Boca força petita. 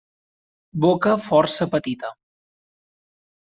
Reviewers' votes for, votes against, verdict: 3, 0, accepted